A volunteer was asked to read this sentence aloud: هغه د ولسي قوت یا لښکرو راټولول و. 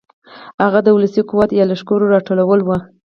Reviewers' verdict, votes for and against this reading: rejected, 2, 2